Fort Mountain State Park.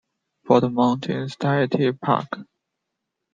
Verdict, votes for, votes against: rejected, 1, 2